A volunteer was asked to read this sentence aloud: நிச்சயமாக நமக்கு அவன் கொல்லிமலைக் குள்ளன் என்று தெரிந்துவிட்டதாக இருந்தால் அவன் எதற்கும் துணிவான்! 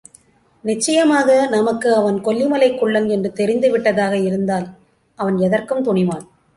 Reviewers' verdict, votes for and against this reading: accepted, 2, 0